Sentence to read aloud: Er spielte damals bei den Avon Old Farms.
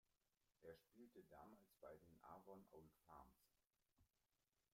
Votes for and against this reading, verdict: 1, 2, rejected